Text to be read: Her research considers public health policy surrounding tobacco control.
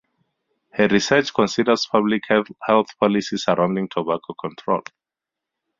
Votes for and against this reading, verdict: 4, 0, accepted